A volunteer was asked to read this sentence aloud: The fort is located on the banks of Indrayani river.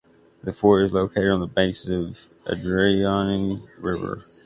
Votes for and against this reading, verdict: 2, 1, accepted